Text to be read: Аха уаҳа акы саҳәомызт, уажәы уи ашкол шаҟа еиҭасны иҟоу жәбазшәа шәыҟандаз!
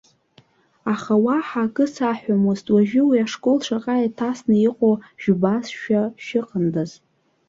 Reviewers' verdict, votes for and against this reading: rejected, 1, 2